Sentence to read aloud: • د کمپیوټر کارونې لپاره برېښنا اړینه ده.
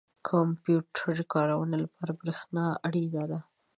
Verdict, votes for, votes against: accepted, 3, 0